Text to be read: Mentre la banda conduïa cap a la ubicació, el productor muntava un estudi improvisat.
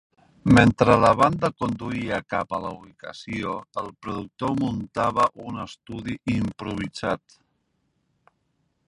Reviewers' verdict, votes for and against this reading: accepted, 3, 0